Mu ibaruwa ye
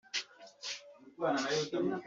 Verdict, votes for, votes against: rejected, 0, 2